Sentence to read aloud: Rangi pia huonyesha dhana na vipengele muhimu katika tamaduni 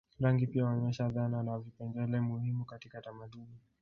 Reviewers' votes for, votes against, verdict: 1, 2, rejected